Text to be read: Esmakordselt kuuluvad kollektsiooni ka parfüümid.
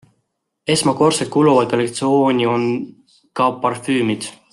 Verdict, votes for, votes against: rejected, 0, 2